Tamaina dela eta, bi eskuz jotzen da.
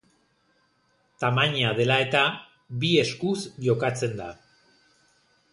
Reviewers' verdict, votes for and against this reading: rejected, 0, 2